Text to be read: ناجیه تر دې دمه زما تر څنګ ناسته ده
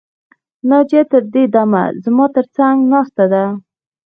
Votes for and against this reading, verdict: 1, 2, rejected